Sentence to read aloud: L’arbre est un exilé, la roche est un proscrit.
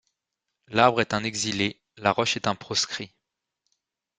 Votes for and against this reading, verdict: 2, 0, accepted